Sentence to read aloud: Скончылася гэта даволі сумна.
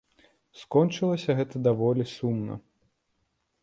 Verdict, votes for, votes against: accepted, 2, 0